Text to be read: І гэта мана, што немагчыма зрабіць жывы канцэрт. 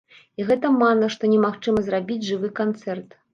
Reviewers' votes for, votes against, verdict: 1, 2, rejected